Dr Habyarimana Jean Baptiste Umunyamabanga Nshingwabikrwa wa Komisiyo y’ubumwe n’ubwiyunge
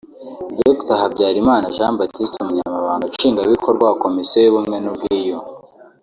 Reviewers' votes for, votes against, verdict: 2, 0, accepted